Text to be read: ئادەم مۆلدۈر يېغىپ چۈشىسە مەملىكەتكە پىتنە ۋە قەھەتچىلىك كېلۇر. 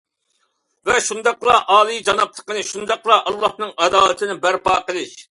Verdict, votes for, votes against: rejected, 0, 2